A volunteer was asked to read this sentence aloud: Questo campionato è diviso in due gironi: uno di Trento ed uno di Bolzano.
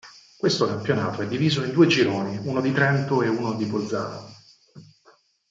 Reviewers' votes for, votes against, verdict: 2, 4, rejected